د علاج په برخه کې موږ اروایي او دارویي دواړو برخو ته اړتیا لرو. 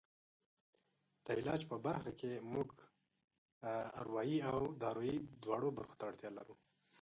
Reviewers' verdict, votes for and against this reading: rejected, 1, 2